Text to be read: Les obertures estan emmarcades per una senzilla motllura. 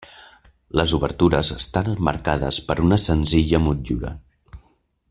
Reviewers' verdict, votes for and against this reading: rejected, 0, 2